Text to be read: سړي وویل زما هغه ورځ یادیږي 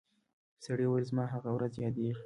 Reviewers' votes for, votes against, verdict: 2, 0, accepted